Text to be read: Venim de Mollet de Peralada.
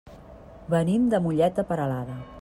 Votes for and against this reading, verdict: 2, 0, accepted